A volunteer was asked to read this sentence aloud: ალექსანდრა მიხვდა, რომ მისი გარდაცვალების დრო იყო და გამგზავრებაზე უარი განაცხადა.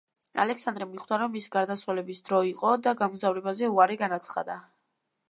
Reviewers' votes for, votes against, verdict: 2, 0, accepted